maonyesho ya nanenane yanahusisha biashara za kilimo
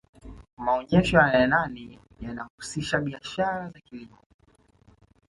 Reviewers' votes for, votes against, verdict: 1, 2, rejected